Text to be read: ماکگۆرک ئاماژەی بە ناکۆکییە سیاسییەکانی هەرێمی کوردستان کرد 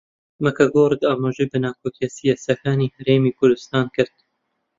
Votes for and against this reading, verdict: 2, 1, accepted